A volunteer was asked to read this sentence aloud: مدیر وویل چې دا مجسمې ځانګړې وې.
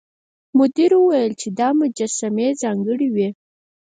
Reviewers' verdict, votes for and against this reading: rejected, 2, 4